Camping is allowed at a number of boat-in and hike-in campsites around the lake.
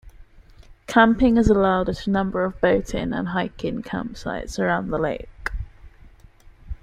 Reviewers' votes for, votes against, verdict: 2, 0, accepted